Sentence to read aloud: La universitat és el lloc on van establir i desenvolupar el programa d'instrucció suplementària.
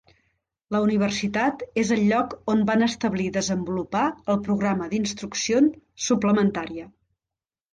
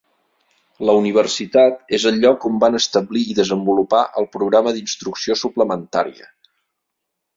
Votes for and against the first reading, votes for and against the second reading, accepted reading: 0, 2, 2, 0, second